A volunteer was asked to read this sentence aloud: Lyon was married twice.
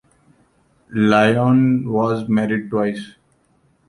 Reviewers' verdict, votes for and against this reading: rejected, 1, 2